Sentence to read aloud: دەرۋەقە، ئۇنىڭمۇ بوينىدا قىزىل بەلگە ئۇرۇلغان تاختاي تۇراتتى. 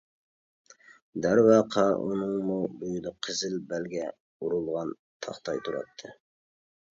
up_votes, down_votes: 1, 2